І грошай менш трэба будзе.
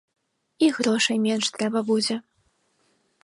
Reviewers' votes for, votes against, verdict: 2, 0, accepted